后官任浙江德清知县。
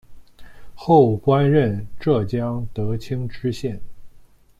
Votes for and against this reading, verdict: 2, 0, accepted